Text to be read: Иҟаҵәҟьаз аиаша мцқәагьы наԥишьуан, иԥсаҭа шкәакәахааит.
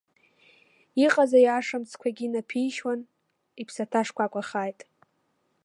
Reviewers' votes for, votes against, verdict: 0, 2, rejected